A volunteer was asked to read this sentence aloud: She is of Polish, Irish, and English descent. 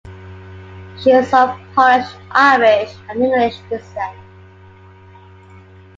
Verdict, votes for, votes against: accepted, 2, 0